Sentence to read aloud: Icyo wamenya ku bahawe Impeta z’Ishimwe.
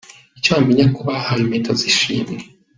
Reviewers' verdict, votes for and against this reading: accepted, 2, 1